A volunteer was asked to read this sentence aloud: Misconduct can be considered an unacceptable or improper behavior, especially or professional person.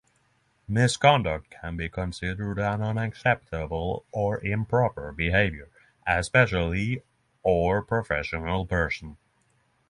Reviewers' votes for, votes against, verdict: 3, 3, rejected